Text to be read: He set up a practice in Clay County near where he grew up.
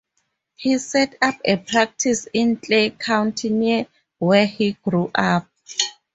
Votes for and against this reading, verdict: 4, 0, accepted